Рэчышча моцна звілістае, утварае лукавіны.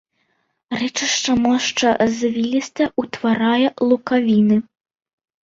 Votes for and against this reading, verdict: 0, 2, rejected